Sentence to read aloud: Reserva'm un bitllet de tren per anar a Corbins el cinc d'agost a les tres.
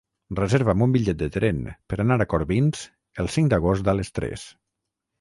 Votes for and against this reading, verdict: 3, 3, rejected